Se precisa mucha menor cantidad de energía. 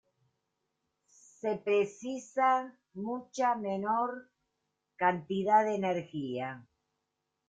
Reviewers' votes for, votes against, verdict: 1, 2, rejected